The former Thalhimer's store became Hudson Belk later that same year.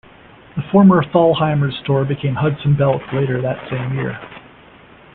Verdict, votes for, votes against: accepted, 2, 1